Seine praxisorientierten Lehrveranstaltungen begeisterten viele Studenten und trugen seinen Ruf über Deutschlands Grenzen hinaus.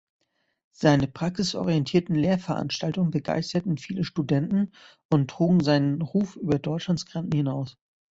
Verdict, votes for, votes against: rejected, 0, 2